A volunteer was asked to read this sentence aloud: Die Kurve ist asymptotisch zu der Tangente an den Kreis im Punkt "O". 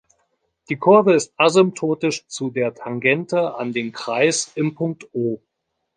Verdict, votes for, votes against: accepted, 2, 0